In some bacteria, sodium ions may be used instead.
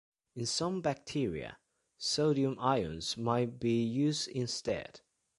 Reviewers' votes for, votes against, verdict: 1, 2, rejected